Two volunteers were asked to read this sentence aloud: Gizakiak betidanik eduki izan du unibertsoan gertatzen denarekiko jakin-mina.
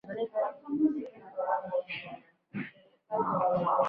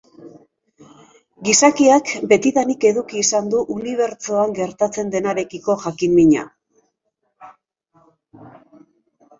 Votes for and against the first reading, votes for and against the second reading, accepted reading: 0, 2, 2, 1, second